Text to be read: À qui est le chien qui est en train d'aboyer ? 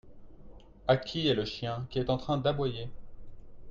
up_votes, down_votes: 2, 0